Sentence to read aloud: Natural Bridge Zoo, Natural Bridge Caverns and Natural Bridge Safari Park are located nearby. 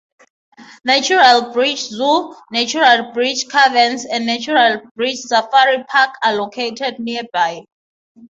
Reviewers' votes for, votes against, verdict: 6, 0, accepted